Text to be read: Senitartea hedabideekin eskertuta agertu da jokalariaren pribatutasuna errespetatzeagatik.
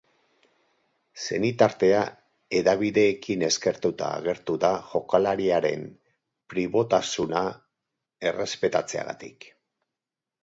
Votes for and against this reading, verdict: 0, 4, rejected